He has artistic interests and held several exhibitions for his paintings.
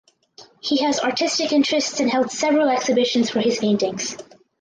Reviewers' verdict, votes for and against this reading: accepted, 4, 2